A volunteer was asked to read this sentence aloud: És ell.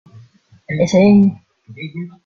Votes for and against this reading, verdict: 1, 2, rejected